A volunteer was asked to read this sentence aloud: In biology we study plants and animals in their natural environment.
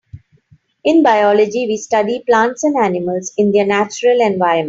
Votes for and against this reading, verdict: 2, 1, accepted